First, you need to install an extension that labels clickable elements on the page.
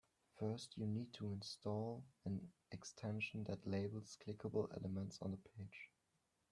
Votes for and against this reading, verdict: 0, 2, rejected